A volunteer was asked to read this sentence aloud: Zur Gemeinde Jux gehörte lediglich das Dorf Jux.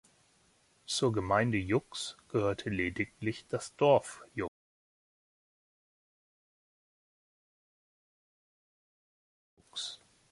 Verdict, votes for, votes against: rejected, 1, 2